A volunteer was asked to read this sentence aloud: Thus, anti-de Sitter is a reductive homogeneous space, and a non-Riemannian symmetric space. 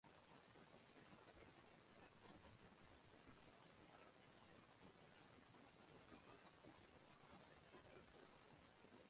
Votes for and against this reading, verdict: 0, 2, rejected